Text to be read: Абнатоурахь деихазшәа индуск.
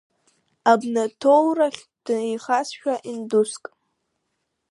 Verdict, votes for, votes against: rejected, 0, 2